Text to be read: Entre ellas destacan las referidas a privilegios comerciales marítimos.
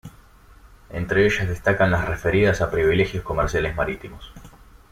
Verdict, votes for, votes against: accepted, 2, 0